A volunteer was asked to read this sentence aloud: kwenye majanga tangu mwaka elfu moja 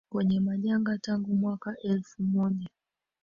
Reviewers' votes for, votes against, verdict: 2, 1, accepted